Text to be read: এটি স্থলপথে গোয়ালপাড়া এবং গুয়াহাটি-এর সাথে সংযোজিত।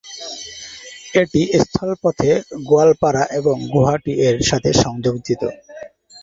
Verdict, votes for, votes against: rejected, 0, 2